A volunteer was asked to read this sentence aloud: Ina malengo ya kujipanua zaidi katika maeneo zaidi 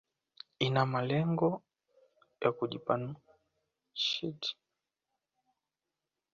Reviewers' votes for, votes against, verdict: 0, 2, rejected